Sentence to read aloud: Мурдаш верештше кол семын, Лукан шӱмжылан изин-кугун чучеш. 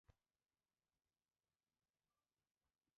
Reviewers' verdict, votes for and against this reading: rejected, 1, 2